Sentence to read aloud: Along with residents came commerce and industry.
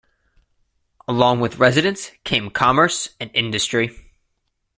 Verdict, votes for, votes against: accepted, 2, 0